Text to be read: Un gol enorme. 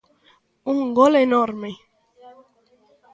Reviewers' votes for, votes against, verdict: 2, 0, accepted